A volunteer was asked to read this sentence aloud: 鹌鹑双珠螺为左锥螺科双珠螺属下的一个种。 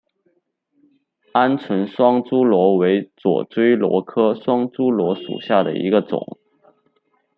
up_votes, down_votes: 2, 0